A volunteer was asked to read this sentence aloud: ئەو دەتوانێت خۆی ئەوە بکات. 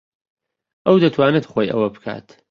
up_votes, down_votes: 2, 0